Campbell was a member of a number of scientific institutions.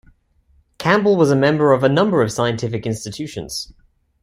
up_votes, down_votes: 2, 0